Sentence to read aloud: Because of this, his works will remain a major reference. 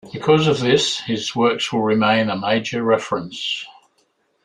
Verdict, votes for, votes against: accepted, 3, 0